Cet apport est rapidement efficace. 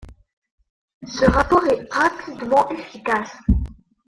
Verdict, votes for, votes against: rejected, 1, 2